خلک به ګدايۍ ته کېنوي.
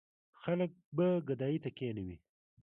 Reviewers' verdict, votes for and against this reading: accepted, 2, 0